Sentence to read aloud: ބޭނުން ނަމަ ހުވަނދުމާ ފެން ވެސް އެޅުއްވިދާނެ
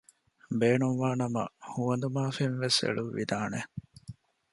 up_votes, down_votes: 0, 2